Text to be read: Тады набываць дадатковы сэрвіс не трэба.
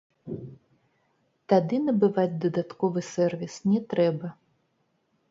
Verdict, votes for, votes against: rejected, 1, 2